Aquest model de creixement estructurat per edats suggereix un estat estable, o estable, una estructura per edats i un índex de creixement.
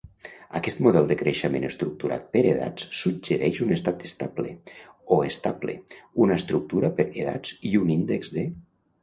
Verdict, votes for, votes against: rejected, 0, 3